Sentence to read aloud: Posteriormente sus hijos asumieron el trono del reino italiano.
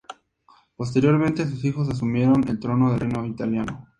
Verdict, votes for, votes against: accepted, 2, 0